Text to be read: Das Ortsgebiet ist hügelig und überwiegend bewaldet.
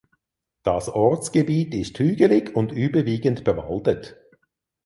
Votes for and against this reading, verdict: 4, 0, accepted